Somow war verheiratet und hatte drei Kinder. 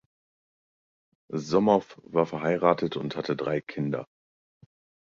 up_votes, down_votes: 2, 0